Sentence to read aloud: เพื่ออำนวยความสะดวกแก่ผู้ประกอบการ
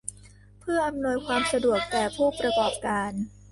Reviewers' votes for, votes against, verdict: 0, 2, rejected